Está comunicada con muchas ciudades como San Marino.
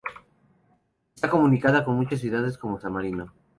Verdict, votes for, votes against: rejected, 0, 2